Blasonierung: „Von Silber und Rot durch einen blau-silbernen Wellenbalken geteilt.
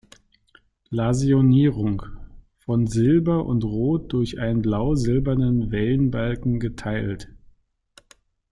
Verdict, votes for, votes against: rejected, 0, 2